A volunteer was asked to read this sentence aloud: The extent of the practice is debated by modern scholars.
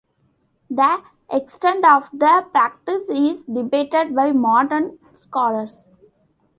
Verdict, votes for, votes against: rejected, 1, 2